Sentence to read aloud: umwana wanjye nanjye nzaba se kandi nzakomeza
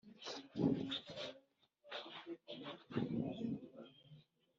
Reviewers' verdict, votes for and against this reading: rejected, 1, 2